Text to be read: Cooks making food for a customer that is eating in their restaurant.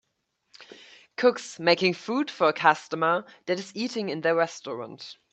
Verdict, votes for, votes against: accepted, 2, 0